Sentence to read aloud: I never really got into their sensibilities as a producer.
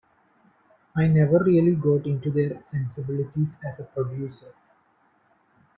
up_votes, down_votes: 0, 2